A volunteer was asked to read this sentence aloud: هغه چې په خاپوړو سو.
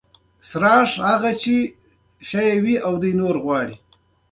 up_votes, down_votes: 1, 2